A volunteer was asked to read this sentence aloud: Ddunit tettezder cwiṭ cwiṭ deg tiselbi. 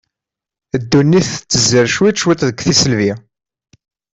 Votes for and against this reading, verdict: 2, 0, accepted